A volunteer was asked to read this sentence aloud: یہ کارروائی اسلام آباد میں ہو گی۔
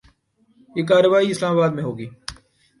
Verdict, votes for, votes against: accepted, 2, 0